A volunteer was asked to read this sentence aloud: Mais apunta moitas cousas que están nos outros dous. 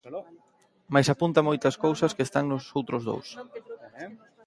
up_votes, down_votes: 1, 2